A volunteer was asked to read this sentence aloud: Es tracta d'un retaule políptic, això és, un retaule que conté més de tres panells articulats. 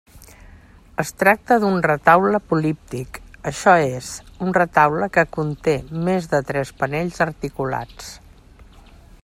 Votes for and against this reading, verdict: 3, 0, accepted